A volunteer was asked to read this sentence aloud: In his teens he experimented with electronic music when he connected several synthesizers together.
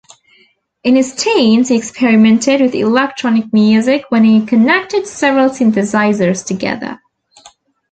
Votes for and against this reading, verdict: 2, 0, accepted